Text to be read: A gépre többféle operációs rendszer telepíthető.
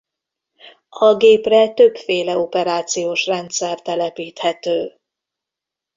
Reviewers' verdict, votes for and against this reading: accepted, 2, 0